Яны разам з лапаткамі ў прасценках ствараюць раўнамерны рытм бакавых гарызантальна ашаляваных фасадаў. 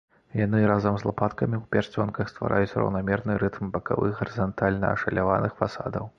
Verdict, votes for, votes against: accepted, 2, 0